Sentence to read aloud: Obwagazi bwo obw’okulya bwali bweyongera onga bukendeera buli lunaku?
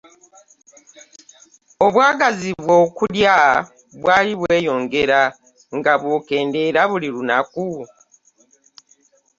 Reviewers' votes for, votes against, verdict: 0, 2, rejected